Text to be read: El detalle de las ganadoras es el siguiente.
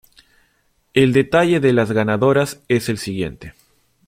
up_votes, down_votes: 2, 0